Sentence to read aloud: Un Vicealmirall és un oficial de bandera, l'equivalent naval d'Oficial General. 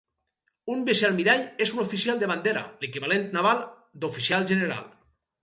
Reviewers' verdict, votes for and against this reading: accepted, 4, 0